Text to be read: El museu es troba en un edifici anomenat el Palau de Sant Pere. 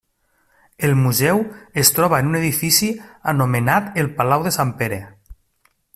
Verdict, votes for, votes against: accepted, 3, 0